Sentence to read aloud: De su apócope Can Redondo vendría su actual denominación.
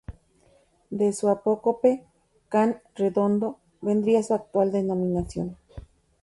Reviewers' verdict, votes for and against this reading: accepted, 2, 0